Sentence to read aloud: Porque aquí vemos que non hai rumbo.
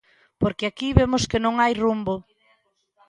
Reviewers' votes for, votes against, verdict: 2, 0, accepted